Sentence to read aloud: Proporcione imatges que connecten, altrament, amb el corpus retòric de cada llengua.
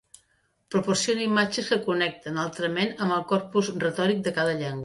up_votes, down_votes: 0, 2